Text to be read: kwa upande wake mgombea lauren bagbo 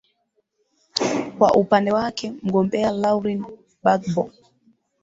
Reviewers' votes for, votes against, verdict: 3, 0, accepted